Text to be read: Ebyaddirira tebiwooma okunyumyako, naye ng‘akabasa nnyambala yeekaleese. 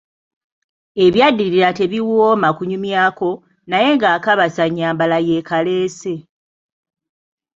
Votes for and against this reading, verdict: 0, 2, rejected